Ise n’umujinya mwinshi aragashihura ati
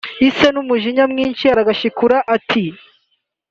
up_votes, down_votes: 2, 1